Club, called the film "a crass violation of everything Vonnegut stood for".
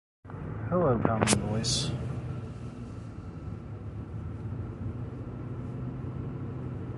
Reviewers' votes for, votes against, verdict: 0, 2, rejected